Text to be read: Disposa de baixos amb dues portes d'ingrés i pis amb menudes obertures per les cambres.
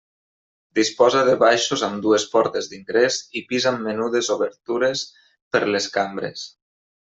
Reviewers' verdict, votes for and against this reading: accepted, 3, 1